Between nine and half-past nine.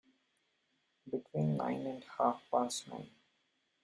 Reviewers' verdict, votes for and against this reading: rejected, 0, 2